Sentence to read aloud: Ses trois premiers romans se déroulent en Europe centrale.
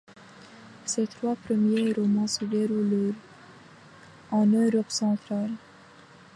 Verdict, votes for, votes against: rejected, 2, 4